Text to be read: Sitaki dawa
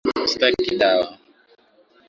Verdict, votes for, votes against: accepted, 2, 1